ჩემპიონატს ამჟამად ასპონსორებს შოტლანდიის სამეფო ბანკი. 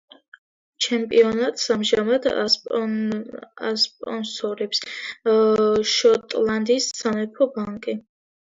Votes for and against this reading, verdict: 2, 0, accepted